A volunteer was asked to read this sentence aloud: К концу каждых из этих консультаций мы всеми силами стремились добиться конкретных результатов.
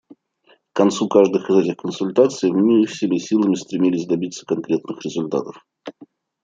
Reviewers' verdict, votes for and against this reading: rejected, 1, 2